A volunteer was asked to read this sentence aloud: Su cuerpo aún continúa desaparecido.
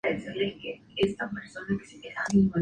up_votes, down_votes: 2, 0